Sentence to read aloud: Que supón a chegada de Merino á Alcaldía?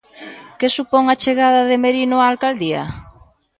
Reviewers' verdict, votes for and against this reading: accepted, 2, 0